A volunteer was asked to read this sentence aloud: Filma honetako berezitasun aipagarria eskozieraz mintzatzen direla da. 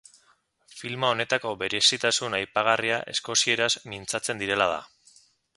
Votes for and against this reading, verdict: 2, 0, accepted